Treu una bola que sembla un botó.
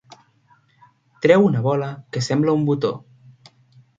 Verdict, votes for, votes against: accepted, 3, 0